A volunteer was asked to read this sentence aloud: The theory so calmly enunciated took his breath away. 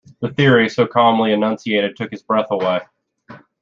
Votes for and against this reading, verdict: 2, 0, accepted